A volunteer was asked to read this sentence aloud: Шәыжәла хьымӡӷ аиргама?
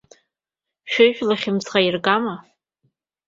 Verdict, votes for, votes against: accepted, 2, 0